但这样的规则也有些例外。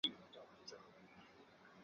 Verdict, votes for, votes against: rejected, 0, 2